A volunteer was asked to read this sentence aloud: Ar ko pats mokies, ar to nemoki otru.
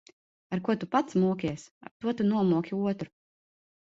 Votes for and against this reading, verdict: 0, 3, rejected